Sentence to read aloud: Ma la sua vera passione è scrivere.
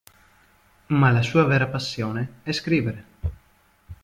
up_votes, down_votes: 2, 0